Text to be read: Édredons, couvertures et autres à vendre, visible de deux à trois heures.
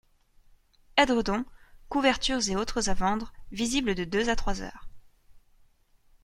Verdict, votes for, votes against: accepted, 2, 0